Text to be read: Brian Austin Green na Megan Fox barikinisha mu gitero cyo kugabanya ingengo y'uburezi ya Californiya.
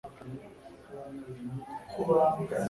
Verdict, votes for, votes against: rejected, 0, 2